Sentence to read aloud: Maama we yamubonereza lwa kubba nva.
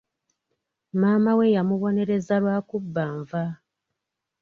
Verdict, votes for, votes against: accepted, 2, 0